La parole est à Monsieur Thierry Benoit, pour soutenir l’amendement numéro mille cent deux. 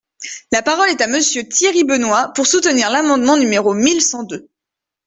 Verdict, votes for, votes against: accepted, 2, 0